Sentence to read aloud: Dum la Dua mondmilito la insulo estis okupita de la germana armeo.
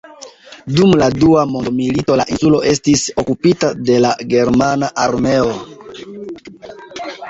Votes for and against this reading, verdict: 1, 2, rejected